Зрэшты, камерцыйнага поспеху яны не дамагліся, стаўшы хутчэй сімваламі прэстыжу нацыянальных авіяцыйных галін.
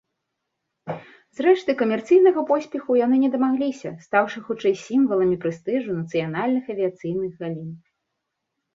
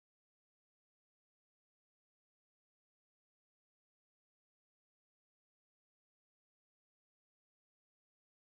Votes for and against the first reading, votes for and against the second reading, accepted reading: 2, 0, 0, 2, first